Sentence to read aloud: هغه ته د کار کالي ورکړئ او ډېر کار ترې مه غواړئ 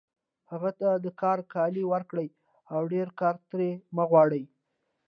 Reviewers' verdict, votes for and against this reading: accepted, 2, 0